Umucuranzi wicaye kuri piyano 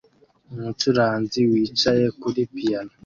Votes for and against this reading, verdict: 2, 0, accepted